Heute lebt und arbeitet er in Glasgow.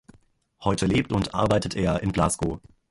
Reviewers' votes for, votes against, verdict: 2, 0, accepted